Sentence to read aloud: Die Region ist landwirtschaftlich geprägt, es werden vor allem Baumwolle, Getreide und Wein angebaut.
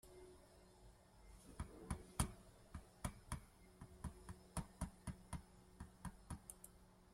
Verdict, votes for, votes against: rejected, 0, 2